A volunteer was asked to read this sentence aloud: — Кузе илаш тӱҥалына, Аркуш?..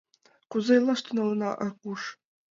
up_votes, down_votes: 2, 0